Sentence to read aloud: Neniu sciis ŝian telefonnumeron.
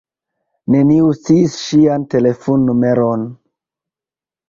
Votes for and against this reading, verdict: 2, 0, accepted